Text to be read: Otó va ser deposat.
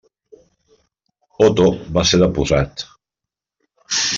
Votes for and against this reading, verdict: 0, 3, rejected